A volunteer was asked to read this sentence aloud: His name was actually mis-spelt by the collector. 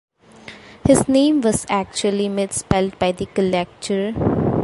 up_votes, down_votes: 2, 0